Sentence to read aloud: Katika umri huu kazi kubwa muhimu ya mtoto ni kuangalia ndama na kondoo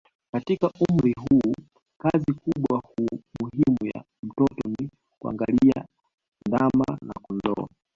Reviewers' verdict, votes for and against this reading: rejected, 0, 2